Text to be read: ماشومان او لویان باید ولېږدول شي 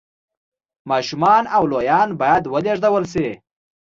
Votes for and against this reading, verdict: 2, 0, accepted